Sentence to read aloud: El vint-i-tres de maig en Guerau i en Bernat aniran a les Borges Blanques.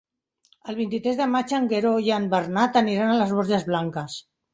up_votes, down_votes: 0, 2